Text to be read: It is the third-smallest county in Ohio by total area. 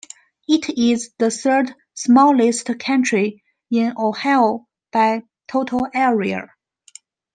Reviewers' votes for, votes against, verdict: 0, 2, rejected